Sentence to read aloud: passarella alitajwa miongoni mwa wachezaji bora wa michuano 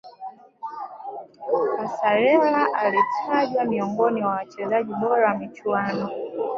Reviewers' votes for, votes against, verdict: 1, 2, rejected